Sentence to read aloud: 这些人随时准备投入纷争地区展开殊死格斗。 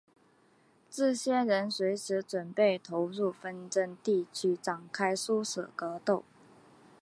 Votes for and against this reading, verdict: 3, 1, accepted